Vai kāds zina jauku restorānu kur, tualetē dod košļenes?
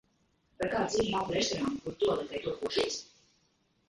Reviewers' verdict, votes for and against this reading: rejected, 1, 2